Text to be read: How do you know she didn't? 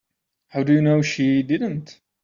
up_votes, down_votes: 2, 0